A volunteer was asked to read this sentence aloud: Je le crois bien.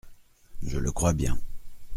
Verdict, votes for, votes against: accepted, 2, 0